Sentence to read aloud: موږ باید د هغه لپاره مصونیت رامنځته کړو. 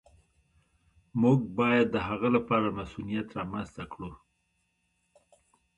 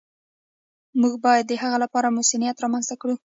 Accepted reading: first